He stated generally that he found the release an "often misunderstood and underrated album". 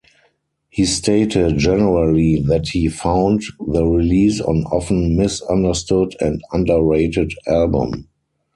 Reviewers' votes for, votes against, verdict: 0, 4, rejected